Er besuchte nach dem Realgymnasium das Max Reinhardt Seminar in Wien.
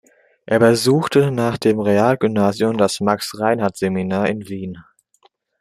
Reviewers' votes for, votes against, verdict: 2, 0, accepted